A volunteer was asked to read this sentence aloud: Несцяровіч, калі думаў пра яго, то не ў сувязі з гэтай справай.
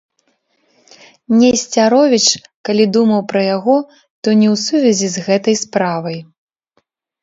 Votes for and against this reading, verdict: 0, 2, rejected